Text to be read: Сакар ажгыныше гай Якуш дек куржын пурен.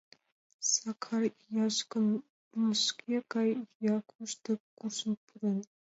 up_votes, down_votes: 1, 2